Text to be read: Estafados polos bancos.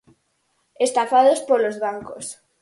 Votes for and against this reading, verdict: 4, 0, accepted